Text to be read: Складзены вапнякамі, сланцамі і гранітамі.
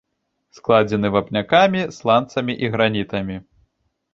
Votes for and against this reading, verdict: 2, 0, accepted